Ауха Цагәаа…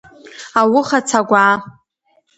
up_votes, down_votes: 1, 2